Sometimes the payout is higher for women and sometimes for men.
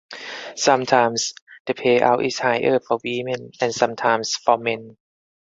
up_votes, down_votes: 4, 2